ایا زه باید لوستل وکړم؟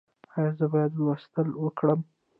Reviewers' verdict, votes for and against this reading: accepted, 2, 0